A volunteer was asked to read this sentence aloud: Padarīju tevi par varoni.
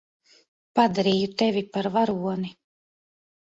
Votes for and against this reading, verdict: 2, 0, accepted